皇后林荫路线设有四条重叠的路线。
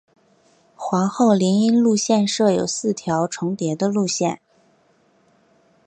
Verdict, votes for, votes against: accepted, 3, 0